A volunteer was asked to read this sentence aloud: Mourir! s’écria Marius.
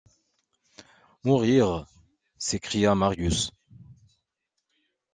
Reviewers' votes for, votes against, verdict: 2, 0, accepted